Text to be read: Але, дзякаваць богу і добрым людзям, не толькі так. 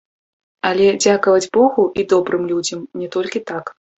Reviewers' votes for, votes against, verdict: 2, 1, accepted